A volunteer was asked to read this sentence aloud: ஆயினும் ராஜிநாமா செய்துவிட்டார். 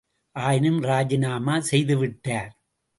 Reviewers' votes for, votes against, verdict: 2, 0, accepted